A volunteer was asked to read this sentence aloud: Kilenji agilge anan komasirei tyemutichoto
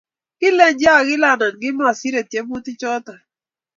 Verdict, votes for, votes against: accepted, 2, 0